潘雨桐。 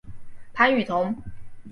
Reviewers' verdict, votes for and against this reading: accepted, 4, 0